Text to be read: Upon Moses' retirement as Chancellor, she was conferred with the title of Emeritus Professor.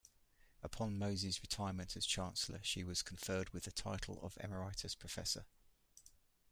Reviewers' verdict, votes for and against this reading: rejected, 1, 2